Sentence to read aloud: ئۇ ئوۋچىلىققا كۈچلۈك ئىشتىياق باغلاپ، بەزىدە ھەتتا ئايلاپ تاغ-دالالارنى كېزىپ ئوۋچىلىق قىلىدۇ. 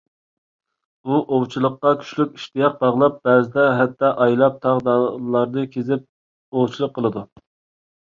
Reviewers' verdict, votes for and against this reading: rejected, 1, 2